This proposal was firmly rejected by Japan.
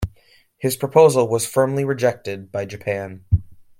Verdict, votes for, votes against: rejected, 1, 2